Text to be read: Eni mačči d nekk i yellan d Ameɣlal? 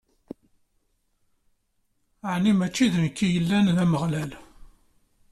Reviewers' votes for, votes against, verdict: 2, 0, accepted